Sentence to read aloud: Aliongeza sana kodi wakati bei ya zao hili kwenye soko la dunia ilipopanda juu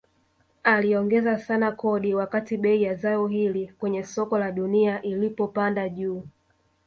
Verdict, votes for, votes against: accepted, 2, 0